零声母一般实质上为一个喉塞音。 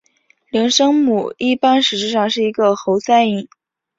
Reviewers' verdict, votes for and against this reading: accepted, 2, 0